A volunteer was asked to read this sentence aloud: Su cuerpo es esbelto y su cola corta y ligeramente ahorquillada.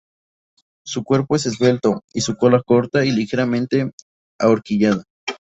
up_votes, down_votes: 2, 0